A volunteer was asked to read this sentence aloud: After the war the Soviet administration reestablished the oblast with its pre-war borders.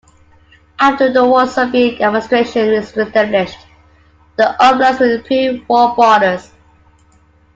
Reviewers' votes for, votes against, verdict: 0, 2, rejected